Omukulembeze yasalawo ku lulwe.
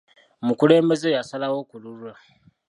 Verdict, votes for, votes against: accepted, 2, 1